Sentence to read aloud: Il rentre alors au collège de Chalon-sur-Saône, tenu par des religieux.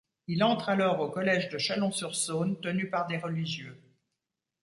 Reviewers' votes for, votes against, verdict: 1, 2, rejected